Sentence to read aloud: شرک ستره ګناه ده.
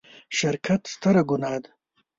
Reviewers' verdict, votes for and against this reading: rejected, 1, 2